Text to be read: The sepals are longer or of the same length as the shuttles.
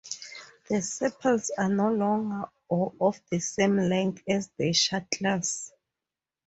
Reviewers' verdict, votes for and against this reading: accepted, 2, 0